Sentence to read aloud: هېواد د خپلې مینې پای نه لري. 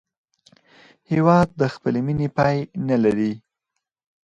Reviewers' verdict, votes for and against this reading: accepted, 4, 0